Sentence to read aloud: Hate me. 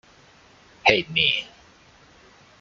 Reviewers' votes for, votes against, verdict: 1, 2, rejected